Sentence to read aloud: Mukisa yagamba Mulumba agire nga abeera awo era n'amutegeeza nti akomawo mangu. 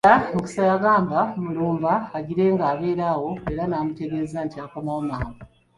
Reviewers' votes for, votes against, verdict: 0, 2, rejected